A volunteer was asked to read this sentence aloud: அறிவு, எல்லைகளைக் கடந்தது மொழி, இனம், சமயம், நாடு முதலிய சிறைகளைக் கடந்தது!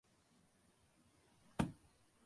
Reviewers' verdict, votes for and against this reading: rejected, 0, 2